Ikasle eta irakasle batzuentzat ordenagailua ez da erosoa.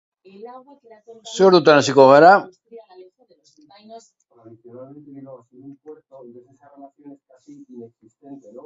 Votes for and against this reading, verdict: 0, 2, rejected